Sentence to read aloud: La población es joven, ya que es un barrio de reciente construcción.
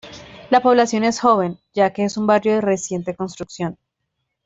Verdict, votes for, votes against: accepted, 2, 0